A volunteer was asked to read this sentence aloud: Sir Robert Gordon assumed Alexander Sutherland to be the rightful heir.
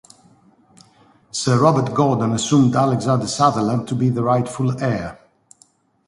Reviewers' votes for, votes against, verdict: 2, 0, accepted